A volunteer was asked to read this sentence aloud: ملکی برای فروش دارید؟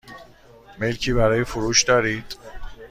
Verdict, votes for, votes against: accepted, 2, 0